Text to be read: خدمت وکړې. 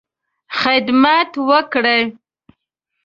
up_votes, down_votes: 2, 1